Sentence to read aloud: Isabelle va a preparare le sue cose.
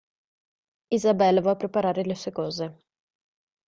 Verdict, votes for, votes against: rejected, 0, 2